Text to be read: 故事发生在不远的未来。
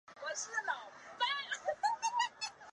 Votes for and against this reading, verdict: 0, 2, rejected